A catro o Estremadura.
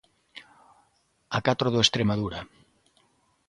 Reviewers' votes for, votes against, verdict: 0, 2, rejected